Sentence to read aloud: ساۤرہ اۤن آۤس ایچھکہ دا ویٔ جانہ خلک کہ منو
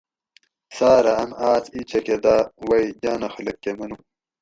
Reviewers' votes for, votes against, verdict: 2, 2, rejected